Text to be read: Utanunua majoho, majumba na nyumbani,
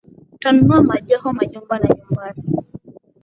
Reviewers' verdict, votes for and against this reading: accepted, 12, 0